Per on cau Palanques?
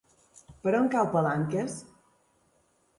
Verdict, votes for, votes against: accepted, 3, 0